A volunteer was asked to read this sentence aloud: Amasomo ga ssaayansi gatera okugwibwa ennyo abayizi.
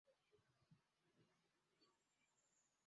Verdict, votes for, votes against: rejected, 0, 2